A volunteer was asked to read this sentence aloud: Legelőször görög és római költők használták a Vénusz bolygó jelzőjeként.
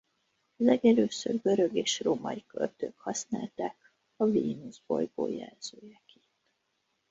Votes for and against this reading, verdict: 0, 2, rejected